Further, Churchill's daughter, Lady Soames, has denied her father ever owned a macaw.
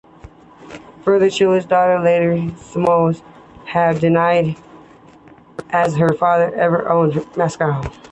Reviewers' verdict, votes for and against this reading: rejected, 0, 2